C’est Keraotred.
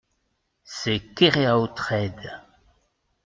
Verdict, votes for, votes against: rejected, 1, 2